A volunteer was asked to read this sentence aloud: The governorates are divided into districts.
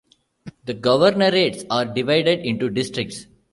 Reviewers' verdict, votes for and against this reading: rejected, 1, 2